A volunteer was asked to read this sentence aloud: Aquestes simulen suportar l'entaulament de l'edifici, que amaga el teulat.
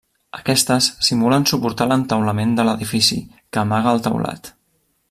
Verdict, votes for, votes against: accepted, 3, 0